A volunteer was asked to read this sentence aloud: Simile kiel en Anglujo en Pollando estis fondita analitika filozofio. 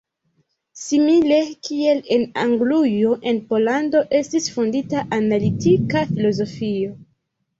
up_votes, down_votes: 1, 2